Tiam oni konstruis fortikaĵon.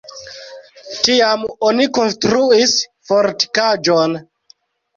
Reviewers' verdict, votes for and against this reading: rejected, 1, 2